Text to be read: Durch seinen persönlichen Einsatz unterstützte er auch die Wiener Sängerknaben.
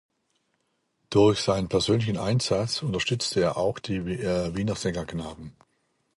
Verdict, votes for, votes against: rejected, 0, 2